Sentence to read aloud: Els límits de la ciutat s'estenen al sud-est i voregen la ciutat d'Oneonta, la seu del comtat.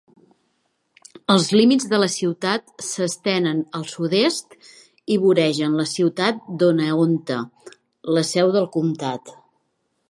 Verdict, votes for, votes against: accepted, 2, 0